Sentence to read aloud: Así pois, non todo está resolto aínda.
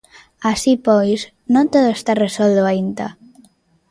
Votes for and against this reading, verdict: 0, 2, rejected